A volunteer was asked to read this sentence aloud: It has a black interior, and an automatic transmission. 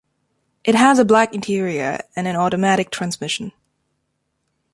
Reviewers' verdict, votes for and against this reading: accepted, 2, 0